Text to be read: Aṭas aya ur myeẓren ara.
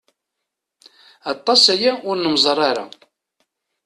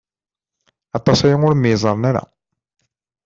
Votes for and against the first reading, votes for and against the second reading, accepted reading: 0, 2, 2, 0, second